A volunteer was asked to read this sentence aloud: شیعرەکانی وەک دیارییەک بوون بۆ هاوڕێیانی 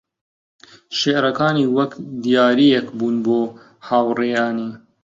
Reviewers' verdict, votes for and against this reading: rejected, 0, 2